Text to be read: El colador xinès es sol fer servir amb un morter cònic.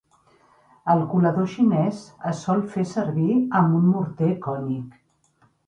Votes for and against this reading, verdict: 3, 0, accepted